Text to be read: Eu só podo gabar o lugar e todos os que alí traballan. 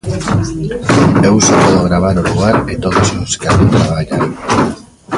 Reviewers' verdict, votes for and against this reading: rejected, 0, 2